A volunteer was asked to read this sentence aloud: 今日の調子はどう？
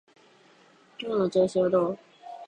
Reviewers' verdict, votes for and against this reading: accepted, 2, 0